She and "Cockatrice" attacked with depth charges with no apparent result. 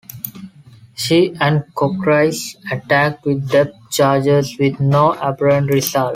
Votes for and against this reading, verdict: 0, 2, rejected